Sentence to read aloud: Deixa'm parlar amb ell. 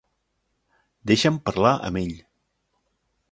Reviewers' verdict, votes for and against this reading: accepted, 3, 0